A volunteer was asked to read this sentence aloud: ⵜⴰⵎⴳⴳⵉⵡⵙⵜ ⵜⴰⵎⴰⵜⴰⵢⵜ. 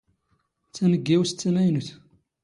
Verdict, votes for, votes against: rejected, 1, 2